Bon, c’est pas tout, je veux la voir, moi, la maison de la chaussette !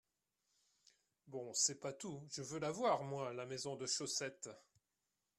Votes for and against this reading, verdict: 1, 2, rejected